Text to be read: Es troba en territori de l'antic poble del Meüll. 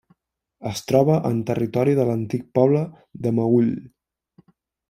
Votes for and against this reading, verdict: 1, 2, rejected